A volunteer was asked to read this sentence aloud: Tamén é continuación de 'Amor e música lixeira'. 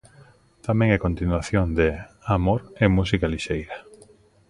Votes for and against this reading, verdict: 2, 0, accepted